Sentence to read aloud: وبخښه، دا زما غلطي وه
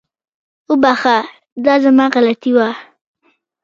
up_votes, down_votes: 2, 0